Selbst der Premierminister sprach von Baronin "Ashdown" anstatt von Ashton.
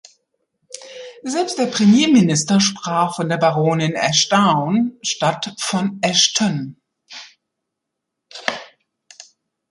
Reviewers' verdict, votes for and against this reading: rejected, 1, 2